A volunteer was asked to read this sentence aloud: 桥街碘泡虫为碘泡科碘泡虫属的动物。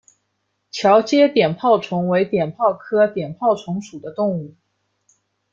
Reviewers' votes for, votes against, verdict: 2, 0, accepted